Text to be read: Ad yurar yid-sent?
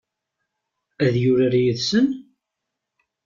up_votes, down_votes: 1, 2